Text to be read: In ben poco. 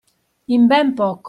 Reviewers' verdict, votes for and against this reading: rejected, 1, 2